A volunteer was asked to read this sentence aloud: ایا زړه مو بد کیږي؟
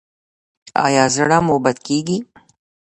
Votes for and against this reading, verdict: 2, 0, accepted